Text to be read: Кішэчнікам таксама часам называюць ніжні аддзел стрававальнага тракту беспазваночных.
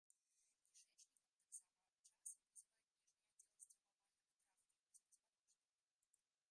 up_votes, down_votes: 0, 2